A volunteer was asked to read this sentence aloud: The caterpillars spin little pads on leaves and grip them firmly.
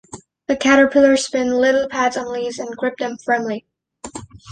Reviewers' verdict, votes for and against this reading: accepted, 2, 0